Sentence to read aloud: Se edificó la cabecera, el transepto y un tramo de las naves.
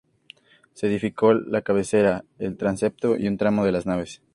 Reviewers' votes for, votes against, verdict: 4, 0, accepted